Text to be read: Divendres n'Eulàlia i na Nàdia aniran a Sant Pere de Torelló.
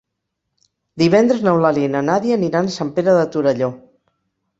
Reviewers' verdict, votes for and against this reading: accepted, 3, 0